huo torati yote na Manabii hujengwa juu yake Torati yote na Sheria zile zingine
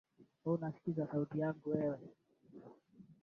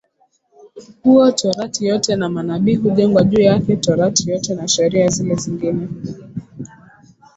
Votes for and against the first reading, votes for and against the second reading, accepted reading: 0, 2, 2, 0, second